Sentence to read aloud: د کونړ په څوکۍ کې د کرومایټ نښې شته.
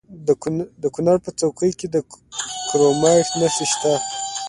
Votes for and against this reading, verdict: 0, 2, rejected